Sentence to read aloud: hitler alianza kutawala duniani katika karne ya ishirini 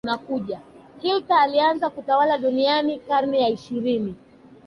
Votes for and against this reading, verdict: 1, 2, rejected